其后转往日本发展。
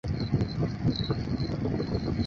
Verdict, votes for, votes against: rejected, 0, 4